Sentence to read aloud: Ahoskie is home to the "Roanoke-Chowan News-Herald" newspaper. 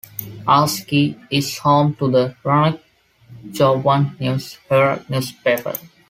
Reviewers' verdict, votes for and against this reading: accepted, 2, 0